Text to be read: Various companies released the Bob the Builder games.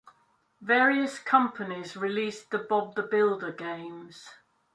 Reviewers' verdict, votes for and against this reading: accepted, 2, 1